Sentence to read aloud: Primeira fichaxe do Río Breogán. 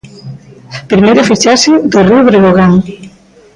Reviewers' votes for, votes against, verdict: 1, 2, rejected